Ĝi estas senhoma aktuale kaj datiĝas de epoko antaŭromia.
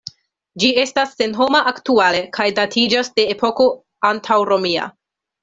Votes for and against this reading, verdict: 2, 0, accepted